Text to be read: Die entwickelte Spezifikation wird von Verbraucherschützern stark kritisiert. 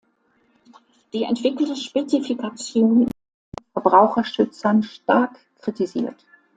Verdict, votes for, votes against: rejected, 0, 2